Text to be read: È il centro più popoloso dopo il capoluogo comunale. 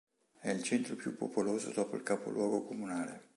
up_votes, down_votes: 2, 0